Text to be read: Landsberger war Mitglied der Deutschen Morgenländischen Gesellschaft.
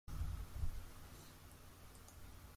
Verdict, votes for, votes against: rejected, 0, 2